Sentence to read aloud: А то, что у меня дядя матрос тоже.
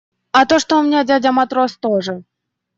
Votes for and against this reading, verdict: 2, 0, accepted